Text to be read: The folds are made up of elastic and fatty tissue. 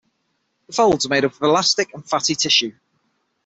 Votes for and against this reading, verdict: 6, 0, accepted